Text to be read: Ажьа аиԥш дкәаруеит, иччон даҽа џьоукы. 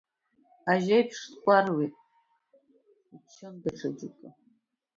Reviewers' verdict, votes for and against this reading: rejected, 0, 2